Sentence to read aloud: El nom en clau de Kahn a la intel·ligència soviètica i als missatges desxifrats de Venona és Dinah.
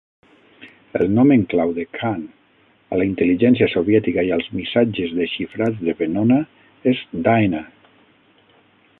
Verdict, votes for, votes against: rejected, 3, 6